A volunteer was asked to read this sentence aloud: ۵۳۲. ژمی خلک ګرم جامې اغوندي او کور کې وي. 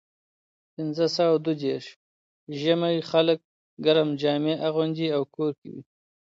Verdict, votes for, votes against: rejected, 0, 2